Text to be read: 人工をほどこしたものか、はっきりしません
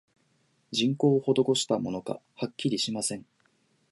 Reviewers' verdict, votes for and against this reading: accepted, 2, 0